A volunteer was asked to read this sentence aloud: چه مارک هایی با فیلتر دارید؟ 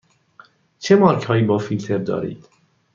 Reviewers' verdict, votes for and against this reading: accepted, 2, 0